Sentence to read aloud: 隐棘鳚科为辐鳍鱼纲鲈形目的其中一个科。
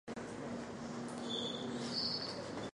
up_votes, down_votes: 1, 7